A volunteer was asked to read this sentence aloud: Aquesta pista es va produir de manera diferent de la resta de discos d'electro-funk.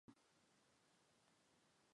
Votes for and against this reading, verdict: 0, 2, rejected